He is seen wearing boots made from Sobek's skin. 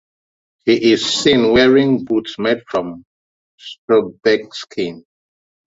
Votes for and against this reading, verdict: 1, 2, rejected